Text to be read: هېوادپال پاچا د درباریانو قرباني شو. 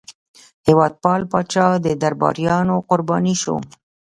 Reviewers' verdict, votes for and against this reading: accepted, 2, 0